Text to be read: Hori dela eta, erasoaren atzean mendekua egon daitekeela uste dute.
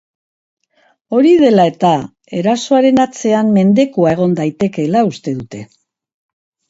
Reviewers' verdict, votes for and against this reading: accepted, 2, 0